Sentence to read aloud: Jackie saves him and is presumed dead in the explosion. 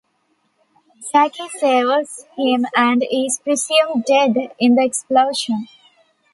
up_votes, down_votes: 1, 2